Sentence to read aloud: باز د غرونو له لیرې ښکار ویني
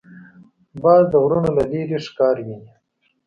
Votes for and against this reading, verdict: 2, 0, accepted